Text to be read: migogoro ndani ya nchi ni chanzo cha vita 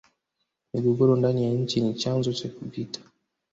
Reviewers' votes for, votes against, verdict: 0, 2, rejected